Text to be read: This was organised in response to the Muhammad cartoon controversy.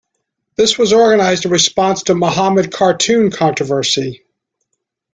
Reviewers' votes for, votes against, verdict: 0, 2, rejected